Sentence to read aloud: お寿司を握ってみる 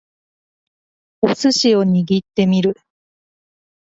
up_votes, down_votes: 2, 0